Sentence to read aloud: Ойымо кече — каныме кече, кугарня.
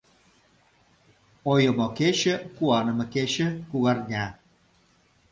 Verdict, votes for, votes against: rejected, 0, 2